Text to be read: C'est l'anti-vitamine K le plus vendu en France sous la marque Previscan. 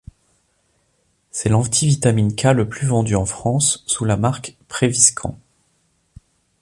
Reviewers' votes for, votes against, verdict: 2, 0, accepted